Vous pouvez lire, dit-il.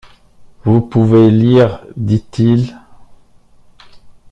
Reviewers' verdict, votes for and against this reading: accepted, 2, 0